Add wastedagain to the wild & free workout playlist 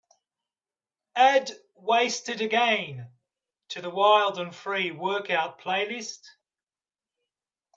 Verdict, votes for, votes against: accepted, 2, 0